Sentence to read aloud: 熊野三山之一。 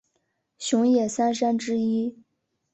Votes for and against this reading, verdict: 2, 0, accepted